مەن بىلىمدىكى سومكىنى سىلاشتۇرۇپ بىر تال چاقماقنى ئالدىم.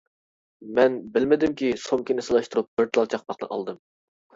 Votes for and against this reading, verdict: 0, 2, rejected